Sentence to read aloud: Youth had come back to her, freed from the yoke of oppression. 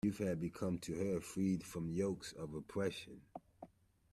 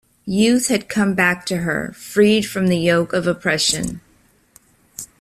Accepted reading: second